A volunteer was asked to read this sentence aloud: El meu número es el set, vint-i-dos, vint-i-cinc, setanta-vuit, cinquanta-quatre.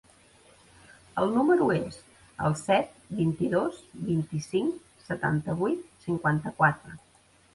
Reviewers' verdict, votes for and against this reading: rejected, 0, 2